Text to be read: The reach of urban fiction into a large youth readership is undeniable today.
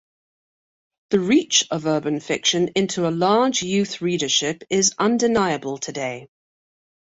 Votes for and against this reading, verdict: 2, 0, accepted